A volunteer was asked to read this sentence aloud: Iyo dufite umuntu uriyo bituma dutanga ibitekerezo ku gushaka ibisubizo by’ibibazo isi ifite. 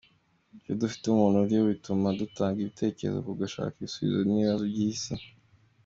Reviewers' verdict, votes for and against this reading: accepted, 2, 0